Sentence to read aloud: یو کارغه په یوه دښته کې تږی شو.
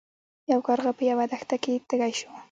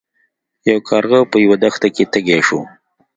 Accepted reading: second